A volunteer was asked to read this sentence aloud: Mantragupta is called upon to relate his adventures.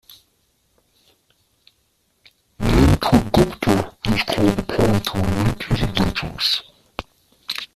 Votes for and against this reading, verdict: 0, 2, rejected